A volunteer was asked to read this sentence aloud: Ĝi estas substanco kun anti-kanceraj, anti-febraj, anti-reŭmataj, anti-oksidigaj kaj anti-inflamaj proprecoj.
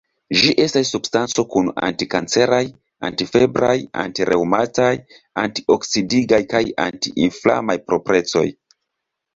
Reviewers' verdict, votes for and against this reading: accepted, 2, 0